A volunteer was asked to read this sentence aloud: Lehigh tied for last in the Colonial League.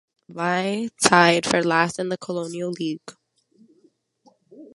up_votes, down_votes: 1, 2